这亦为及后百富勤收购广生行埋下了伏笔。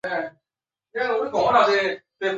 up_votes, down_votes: 0, 2